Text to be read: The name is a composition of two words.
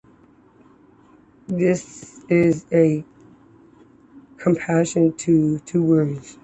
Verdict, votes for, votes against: rejected, 1, 2